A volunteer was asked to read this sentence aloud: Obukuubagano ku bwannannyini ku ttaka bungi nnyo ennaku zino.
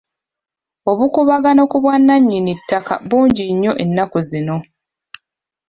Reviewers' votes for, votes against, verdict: 0, 2, rejected